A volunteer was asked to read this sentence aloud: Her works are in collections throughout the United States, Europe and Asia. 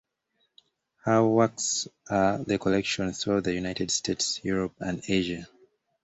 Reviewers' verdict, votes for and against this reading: rejected, 1, 2